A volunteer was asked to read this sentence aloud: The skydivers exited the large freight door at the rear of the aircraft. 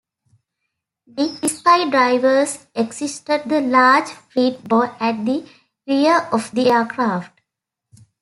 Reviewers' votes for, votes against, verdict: 0, 2, rejected